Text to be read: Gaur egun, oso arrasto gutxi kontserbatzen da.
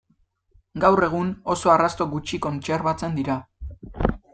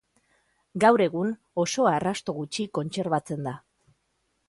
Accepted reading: second